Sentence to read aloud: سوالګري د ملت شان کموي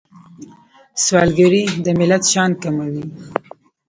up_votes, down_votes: 1, 2